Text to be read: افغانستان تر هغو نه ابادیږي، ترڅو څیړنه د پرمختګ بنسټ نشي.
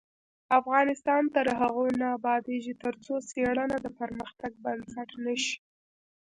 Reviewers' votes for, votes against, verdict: 1, 2, rejected